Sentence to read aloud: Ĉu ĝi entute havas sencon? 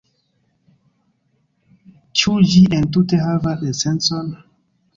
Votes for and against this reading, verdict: 0, 2, rejected